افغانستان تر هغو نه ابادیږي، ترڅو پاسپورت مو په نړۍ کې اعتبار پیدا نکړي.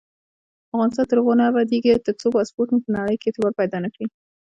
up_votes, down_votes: 2, 0